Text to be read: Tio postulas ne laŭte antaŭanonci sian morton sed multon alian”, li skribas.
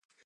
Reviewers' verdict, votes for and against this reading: rejected, 0, 2